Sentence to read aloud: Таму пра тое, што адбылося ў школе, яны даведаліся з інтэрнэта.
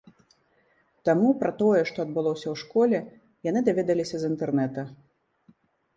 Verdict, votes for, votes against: accepted, 2, 0